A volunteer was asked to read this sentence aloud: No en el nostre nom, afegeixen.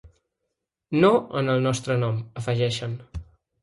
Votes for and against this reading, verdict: 4, 0, accepted